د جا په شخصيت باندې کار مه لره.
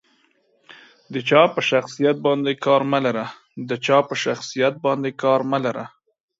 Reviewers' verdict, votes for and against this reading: rejected, 0, 2